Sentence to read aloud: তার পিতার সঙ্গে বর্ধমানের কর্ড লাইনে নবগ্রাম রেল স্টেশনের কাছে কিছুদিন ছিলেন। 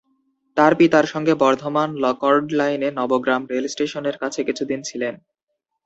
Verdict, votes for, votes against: rejected, 0, 2